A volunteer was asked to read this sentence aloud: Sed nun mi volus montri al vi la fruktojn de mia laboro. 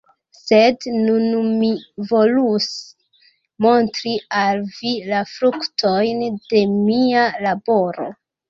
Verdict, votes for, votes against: rejected, 0, 2